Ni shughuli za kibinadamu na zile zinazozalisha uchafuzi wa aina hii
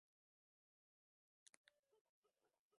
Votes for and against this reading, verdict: 0, 2, rejected